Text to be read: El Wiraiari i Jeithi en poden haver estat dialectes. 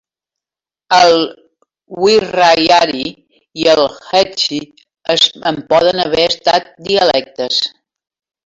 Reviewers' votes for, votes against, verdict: 0, 2, rejected